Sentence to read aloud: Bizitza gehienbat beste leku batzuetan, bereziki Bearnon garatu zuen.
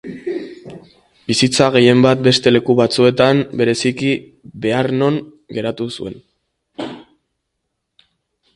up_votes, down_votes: 1, 2